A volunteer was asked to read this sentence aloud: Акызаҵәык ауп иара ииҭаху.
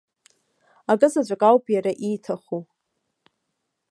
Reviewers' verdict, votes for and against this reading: accepted, 2, 1